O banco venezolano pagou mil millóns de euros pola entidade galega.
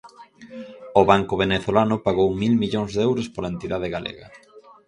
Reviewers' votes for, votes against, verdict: 2, 2, rejected